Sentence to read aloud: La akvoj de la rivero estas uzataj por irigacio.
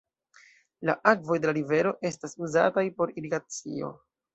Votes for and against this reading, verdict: 2, 0, accepted